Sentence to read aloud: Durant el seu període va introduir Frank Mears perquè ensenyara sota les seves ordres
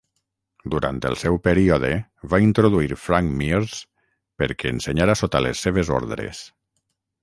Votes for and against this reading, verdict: 6, 0, accepted